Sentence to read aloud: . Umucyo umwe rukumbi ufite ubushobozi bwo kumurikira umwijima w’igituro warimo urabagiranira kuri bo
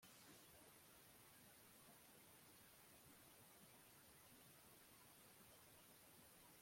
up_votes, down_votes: 0, 2